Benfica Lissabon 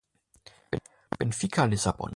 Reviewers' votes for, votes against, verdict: 0, 2, rejected